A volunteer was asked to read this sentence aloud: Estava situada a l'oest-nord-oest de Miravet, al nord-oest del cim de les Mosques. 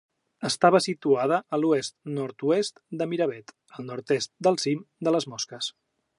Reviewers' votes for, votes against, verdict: 1, 2, rejected